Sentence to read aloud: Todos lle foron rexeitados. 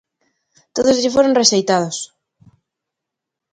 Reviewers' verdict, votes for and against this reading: accepted, 2, 0